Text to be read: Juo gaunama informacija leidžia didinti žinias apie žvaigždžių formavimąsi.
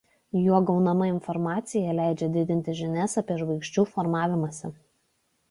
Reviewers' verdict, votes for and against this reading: accepted, 2, 0